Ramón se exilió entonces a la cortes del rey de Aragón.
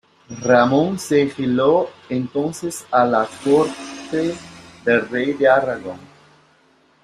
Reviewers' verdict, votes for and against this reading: rejected, 0, 3